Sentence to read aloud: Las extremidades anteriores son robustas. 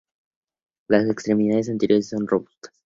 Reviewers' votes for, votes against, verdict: 0, 2, rejected